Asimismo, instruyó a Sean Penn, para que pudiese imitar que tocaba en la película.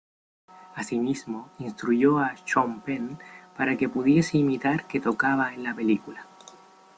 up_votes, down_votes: 2, 1